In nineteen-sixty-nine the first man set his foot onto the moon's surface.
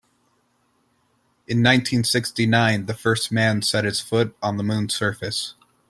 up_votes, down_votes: 1, 2